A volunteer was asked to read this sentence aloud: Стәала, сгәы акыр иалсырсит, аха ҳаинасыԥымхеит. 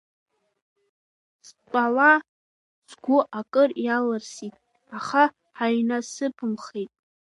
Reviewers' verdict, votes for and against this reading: accepted, 2, 1